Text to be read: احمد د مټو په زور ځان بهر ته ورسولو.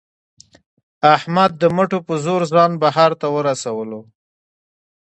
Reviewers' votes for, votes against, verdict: 1, 2, rejected